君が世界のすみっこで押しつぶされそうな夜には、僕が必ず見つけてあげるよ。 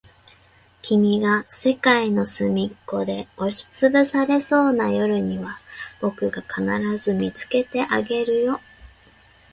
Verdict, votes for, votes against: accepted, 2, 1